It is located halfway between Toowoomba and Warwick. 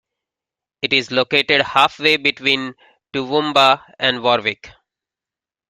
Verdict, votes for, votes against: accepted, 2, 1